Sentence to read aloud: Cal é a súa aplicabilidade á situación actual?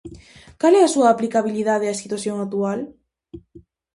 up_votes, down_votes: 2, 0